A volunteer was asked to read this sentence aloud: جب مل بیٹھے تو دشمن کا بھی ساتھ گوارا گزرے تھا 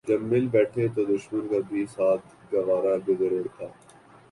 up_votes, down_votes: 2, 0